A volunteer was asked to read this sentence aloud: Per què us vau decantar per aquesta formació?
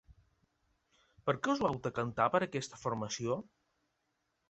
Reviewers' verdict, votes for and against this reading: accepted, 2, 0